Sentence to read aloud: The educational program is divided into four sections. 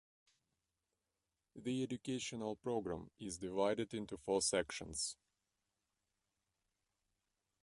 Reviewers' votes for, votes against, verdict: 2, 0, accepted